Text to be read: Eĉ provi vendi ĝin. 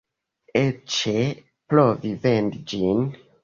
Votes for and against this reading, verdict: 0, 2, rejected